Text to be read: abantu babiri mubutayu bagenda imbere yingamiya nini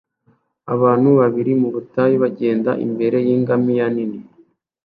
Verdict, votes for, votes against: accepted, 2, 0